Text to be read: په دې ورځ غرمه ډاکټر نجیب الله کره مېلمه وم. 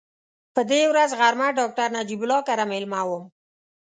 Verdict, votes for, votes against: accepted, 2, 0